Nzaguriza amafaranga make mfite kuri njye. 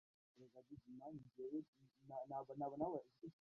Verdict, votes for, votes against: rejected, 0, 2